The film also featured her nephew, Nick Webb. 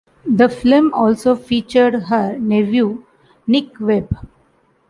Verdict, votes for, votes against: accepted, 2, 1